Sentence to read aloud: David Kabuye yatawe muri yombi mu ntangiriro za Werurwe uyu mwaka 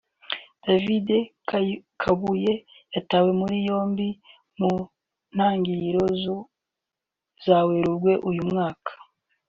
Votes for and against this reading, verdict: 0, 2, rejected